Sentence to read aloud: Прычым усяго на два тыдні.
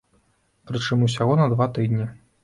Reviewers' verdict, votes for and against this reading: accepted, 2, 0